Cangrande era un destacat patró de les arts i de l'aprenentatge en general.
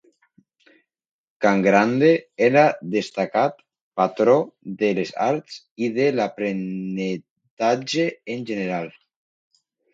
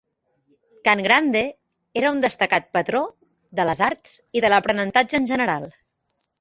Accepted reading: second